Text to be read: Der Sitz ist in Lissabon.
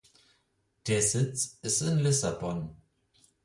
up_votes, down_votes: 4, 0